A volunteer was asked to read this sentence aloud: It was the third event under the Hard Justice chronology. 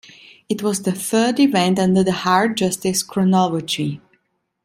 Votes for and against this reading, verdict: 2, 0, accepted